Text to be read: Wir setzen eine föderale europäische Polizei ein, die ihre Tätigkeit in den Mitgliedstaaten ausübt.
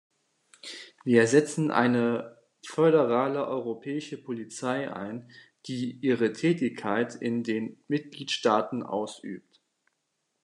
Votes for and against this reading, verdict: 1, 2, rejected